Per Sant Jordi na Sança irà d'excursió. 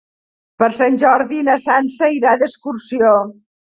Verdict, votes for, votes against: accepted, 3, 0